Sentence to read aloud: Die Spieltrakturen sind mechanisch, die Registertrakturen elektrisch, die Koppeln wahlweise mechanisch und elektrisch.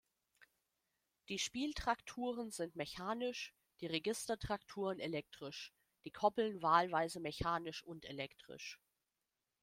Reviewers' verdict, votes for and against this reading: accepted, 2, 0